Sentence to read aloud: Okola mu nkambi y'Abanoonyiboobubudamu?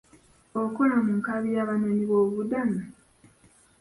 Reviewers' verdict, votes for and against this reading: accepted, 2, 1